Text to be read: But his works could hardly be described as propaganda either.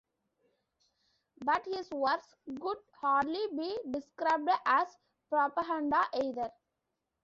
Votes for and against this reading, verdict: 1, 2, rejected